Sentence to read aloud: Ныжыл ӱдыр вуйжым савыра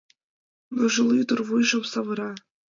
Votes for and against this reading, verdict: 2, 0, accepted